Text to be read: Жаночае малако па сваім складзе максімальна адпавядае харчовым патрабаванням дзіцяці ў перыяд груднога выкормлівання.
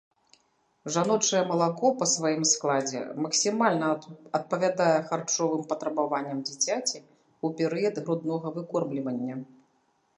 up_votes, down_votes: 1, 2